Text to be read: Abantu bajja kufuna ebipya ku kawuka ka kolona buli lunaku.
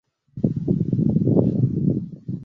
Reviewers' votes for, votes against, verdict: 0, 2, rejected